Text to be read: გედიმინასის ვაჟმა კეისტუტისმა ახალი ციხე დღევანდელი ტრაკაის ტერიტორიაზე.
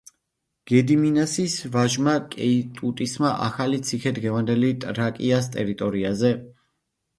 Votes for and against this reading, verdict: 0, 2, rejected